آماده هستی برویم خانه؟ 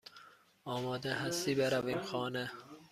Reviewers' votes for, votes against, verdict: 2, 0, accepted